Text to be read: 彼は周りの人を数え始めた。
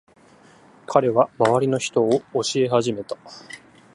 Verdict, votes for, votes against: rejected, 0, 2